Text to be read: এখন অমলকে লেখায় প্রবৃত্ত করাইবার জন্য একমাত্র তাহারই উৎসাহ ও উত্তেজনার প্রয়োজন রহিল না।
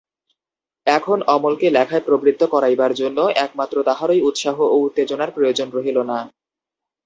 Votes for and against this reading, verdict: 2, 0, accepted